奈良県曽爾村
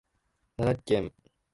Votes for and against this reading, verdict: 0, 2, rejected